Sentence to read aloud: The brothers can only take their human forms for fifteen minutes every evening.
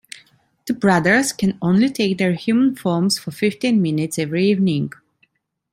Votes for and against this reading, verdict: 2, 0, accepted